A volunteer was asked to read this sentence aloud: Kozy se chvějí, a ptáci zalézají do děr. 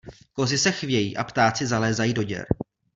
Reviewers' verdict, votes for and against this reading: accepted, 2, 0